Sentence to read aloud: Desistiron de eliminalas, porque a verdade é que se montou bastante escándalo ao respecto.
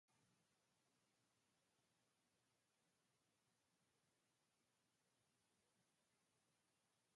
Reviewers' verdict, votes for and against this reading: rejected, 0, 2